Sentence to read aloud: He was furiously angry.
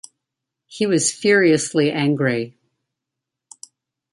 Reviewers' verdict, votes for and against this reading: accepted, 2, 0